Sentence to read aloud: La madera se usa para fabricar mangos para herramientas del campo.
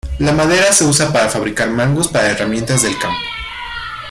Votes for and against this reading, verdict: 2, 0, accepted